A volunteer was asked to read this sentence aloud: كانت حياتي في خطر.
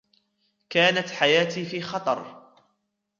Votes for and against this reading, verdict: 1, 2, rejected